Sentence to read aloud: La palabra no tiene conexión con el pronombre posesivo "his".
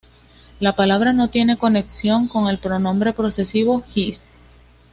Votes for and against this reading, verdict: 3, 2, accepted